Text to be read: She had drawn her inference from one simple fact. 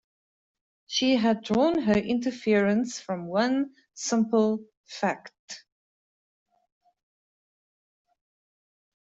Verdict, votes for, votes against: rejected, 0, 2